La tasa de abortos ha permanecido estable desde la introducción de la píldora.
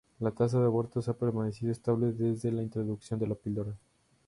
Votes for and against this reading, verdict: 0, 2, rejected